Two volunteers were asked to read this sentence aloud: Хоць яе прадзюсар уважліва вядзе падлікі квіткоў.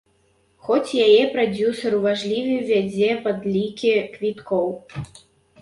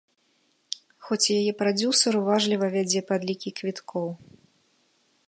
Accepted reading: second